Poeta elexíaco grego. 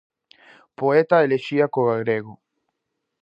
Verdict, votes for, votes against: rejected, 0, 4